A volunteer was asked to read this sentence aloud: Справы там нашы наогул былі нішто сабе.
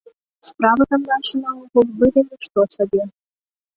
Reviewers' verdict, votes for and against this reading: rejected, 1, 2